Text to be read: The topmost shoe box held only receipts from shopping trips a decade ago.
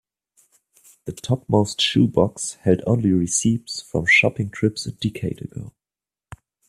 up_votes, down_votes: 0, 2